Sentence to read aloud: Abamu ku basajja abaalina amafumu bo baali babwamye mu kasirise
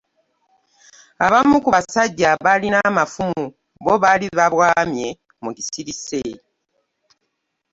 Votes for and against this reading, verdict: 1, 2, rejected